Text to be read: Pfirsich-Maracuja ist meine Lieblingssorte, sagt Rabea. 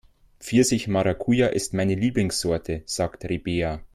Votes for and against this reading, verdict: 2, 1, accepted